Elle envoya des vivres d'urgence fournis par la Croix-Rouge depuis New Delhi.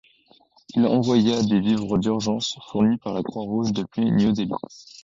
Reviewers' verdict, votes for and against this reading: rejected, 1, 2